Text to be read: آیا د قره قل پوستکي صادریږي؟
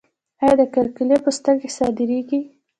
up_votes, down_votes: 0, 2